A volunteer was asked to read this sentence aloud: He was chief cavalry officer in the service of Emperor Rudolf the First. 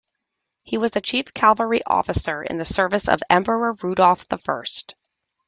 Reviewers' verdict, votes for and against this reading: rejected, 0, 2